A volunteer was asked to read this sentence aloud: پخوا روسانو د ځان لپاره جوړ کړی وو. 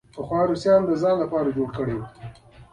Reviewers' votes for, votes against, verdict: 2, 0, accepted